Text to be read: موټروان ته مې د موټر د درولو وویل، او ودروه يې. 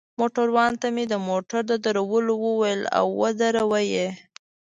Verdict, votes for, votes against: accepted, 2, 0